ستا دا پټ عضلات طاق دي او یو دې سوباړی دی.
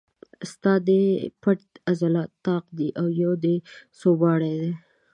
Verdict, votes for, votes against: rejected, 0, 2